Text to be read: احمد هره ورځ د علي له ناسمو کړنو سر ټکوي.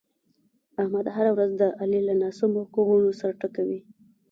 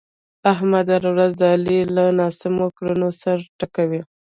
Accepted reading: second